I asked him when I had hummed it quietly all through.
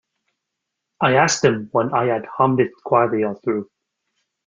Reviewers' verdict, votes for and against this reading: accepted, 2, 1